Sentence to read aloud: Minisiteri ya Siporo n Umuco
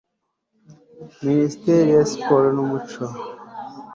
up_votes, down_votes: 2, 0